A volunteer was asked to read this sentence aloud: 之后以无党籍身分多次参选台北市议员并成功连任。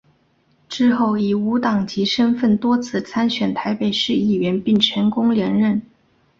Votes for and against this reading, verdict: 1, 2, rejected